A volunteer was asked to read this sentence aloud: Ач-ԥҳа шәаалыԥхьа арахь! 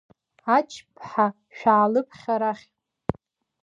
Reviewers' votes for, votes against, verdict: 2, 0, accepted